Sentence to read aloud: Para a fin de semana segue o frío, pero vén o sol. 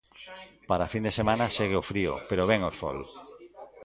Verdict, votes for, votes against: rejected, 1, 2